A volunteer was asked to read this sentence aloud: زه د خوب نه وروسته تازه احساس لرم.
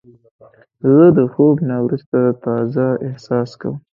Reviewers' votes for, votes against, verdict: 2, 1, accepted